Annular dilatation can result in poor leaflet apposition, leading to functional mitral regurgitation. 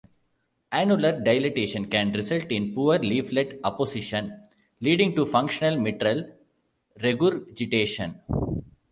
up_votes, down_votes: 0, 2